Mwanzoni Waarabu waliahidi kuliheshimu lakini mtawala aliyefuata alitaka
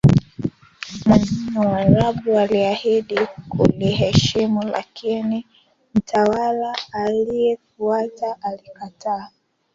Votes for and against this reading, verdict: 0, 2, rejected